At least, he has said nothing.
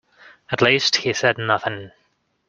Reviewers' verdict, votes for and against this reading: rejected, 1, 2